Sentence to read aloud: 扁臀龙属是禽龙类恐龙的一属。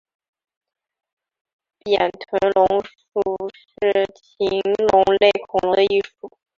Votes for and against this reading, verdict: 2, 3, rejected